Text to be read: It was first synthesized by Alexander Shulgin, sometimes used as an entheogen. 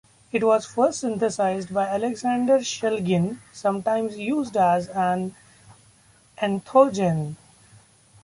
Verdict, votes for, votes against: rejected, 1, 2